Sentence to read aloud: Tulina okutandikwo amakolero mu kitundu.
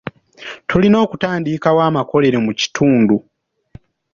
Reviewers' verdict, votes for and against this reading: accepted, 3, 0